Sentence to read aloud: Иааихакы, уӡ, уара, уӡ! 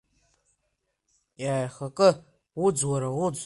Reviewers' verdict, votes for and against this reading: accepted, 2, 0